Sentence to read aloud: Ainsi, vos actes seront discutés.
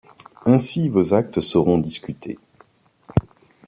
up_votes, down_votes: 2, 0